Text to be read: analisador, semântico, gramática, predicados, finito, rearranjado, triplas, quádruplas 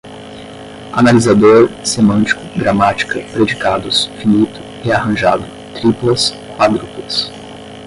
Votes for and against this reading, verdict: 5, 5, rejected